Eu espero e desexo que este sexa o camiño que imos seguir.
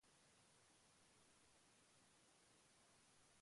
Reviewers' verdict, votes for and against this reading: rejected, 0, 2